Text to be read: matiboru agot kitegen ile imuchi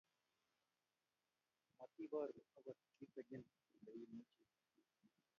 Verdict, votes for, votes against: rejected, 1, 2